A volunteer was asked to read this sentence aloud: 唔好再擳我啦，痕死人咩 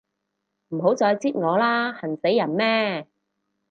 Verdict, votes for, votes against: accepted, 4, 0